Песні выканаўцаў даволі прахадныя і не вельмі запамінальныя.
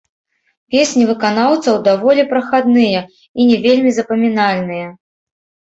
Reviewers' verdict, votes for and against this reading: rejected, 1, 3